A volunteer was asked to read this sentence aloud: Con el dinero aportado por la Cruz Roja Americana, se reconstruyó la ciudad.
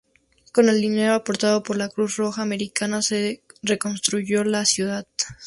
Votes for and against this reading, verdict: 2, 0, accepted